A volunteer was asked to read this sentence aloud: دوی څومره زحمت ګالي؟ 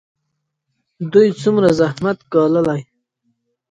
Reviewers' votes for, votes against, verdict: 0, 2, rejected